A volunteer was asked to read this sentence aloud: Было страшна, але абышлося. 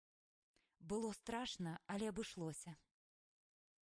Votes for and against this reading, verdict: 2, 0, accepted